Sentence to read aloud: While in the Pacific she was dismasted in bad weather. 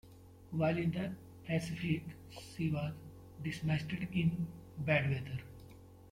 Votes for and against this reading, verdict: 1, 2, rejected